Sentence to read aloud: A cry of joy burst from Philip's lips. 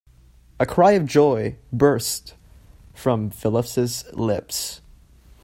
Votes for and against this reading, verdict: 1, 2, rejected